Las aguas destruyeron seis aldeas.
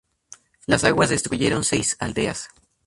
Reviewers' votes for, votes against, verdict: 0, 2, rejected